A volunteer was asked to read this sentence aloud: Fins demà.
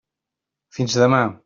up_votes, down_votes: 3, 0